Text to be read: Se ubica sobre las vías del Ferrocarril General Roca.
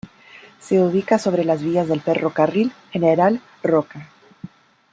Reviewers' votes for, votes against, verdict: 2, 0, accepted